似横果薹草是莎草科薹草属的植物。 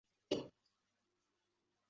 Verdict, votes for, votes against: rejected, 1, 5